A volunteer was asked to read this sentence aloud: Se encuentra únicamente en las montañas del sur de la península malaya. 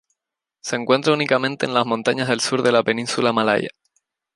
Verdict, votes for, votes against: rejected, 0, 2